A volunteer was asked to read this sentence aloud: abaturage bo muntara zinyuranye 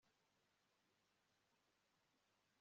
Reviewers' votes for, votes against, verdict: 1, 2, rejected